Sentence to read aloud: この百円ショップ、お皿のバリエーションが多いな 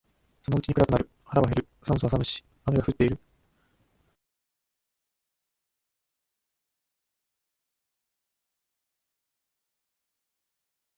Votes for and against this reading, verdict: 1, 2, rejected